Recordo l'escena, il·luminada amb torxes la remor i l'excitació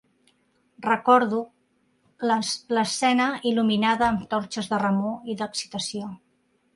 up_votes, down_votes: 0, 3